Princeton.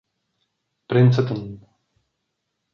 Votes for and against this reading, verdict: 0, 2, rejected